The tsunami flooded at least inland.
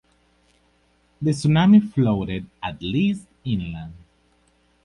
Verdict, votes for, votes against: rejected, 0, 4